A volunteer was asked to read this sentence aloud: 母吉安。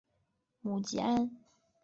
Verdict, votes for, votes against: accepted, 2, 0